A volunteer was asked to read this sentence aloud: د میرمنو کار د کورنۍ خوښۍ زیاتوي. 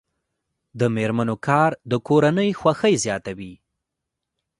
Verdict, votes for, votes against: rejected, 1, 2